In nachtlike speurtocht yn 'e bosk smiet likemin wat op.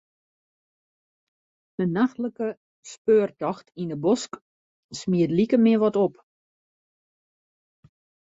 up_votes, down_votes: 1, 2